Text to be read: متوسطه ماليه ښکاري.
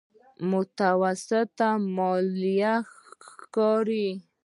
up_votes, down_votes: 2, 0